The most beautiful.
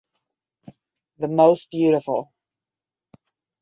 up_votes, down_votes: 10, 0